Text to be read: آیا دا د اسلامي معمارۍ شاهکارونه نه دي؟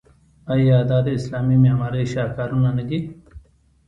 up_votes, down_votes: 1, 2